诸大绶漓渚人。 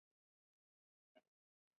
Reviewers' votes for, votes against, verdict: 0, 2, rejected